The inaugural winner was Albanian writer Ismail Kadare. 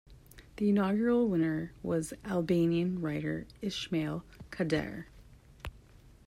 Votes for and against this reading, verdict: 2, 0, accepted